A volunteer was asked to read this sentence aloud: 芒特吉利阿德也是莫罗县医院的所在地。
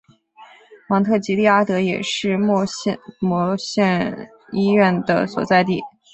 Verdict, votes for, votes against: rejected, 0, 3